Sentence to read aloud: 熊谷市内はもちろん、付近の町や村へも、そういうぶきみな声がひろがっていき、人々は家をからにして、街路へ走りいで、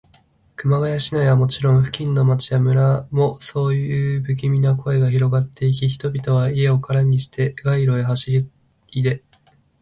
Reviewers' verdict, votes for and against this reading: rejected, 0, 2